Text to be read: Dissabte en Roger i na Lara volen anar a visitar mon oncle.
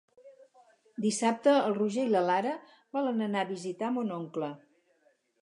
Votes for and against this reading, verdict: 2, 2, rejected